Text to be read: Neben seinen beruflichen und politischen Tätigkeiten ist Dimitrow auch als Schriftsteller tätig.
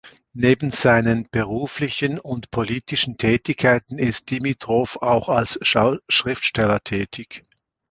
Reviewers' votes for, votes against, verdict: 0, 2, rejected